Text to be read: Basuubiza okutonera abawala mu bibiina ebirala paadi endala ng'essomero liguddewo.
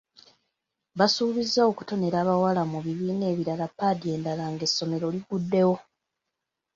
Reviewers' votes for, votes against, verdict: 2, 0, accepted